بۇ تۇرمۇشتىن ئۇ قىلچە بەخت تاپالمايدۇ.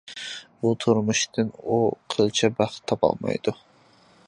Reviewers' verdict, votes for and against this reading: accepted, 2, 0